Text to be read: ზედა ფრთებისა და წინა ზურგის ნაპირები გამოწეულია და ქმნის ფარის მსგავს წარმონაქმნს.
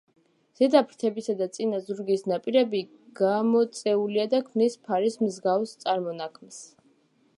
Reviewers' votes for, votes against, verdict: 2, 1, accepted